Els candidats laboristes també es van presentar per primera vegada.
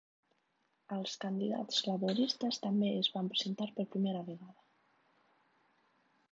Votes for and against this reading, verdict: 1, 2, rejected